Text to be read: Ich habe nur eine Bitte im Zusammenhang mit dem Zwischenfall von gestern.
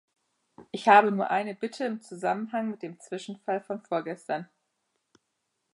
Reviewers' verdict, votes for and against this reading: rejected, 0, 2